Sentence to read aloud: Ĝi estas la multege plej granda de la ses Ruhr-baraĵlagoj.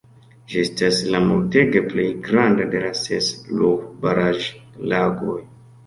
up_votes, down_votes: 2, 0